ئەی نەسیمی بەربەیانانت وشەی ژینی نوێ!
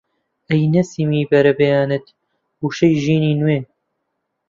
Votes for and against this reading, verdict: 0, 2, rejected